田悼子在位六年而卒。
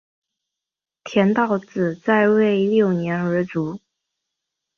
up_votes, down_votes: 2, 0